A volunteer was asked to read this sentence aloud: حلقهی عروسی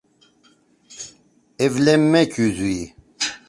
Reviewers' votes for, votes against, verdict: 0, 2, rejected